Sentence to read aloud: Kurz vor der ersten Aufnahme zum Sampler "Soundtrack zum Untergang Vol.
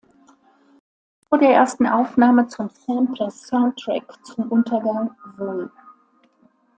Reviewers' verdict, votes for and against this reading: rejected, 0, 2